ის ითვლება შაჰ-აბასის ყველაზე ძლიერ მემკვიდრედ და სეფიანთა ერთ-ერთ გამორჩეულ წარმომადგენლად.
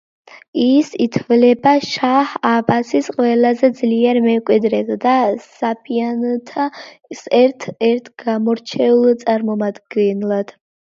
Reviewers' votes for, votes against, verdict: 0, 2, rejected